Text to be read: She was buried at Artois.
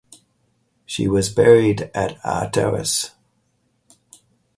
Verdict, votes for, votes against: rejected, 2, 2